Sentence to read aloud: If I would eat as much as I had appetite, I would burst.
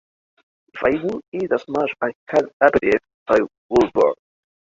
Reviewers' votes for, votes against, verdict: 0, 2, rejected